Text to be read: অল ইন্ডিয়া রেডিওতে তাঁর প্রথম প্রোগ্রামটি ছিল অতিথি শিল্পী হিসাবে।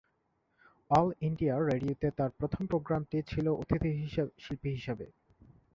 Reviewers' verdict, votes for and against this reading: rejected, 2, 2